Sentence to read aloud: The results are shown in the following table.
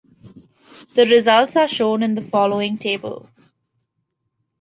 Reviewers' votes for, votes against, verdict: 2, 0, accepted